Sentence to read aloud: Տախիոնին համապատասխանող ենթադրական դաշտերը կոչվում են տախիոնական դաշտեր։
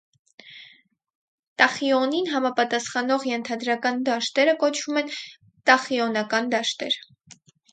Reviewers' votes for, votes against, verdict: 4, 0, accepted